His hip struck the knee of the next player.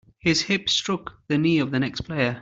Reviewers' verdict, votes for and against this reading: accepted, 2, 0